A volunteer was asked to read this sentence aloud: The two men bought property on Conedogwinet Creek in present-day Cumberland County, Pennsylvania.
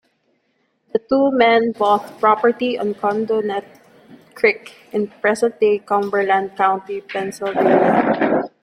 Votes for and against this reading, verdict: 2, 0, accepted